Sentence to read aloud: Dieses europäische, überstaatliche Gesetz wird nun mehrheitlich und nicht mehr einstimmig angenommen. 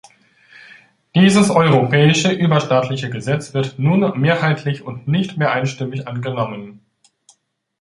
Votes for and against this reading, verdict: 2, 0, accepted